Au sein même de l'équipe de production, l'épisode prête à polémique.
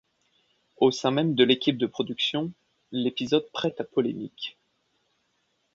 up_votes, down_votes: 2, 0